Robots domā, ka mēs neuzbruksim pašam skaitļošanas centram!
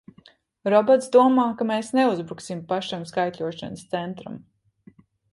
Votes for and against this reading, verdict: 2, 0, accepted